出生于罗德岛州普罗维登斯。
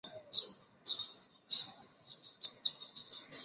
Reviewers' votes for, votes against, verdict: 1, 2, rejected